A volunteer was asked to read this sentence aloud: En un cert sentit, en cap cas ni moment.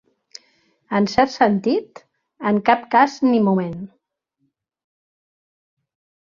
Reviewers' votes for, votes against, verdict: 0, 2, rejected